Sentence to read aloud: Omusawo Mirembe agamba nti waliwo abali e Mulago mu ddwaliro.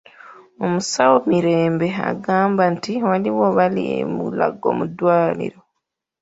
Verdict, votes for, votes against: accepted, 2, 1